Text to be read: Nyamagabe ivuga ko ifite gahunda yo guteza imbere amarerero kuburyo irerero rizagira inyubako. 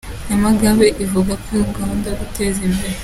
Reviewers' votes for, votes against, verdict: 0, 3, rejected